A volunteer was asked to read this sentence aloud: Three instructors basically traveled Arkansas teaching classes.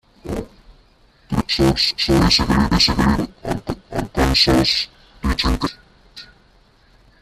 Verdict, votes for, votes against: rejected, 0, 2